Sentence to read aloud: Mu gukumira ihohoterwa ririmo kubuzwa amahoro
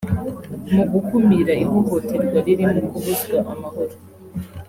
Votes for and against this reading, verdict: 3, 1, accepted